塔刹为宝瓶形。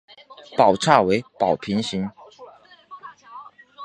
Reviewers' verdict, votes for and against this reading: accepted, 2, 0